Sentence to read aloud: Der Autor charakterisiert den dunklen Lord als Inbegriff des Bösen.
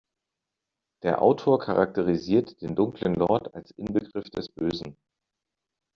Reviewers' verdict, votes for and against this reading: accepted, 2, 0